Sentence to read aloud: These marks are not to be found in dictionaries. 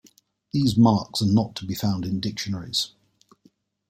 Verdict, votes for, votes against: accepted, 2, 0